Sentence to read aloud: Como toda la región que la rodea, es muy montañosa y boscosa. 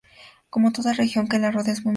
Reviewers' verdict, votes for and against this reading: rejected, 0, 2